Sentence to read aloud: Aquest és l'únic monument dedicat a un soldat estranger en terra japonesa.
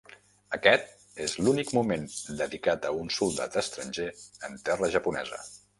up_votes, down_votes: 0, 2